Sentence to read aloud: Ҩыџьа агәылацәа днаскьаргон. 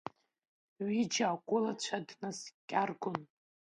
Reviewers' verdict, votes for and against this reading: rejected, 1, 2